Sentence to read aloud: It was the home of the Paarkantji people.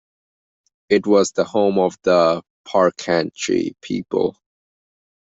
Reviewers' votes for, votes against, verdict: 2, 0, accepted